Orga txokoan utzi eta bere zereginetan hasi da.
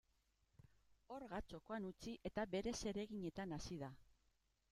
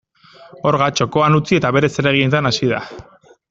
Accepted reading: second